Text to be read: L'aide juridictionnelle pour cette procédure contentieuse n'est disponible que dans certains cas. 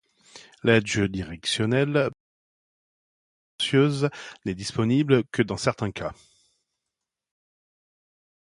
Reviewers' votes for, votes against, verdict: 0, 2, rejected